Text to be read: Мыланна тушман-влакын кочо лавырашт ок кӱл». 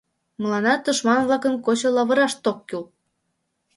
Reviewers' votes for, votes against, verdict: 2, 0, accepted